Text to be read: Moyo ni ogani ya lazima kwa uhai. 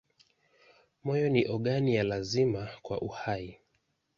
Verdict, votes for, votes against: accepted, 2, 1